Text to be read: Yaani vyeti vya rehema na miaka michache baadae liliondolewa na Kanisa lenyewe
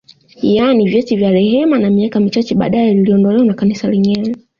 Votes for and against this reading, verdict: 2, 1, accepted